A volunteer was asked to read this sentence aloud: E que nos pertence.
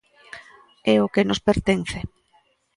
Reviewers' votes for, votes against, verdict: 0, 2, rejected